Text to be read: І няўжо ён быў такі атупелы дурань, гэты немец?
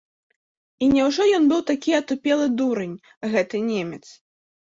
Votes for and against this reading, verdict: 3, 0, accepted